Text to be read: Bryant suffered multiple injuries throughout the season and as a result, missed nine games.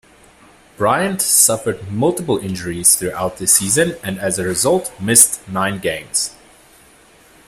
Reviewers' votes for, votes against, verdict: 2, 0, accepted